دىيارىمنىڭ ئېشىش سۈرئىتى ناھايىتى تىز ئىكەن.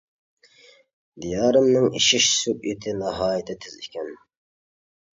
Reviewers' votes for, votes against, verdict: 0, 2, rejected